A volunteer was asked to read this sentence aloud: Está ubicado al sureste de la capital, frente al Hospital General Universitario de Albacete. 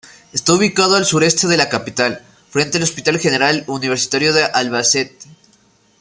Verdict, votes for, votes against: rejected, 0, 2